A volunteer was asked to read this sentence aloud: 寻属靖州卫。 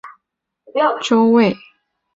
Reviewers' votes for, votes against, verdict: 0, 2, rejected